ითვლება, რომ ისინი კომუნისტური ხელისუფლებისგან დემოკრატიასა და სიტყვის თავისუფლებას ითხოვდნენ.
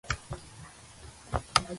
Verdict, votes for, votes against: rejected, 0, 2